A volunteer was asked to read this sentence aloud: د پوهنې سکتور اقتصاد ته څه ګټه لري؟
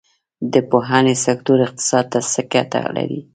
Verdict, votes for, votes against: rejected, 1, 2